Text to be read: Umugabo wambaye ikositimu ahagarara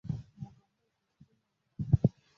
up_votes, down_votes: 0, 2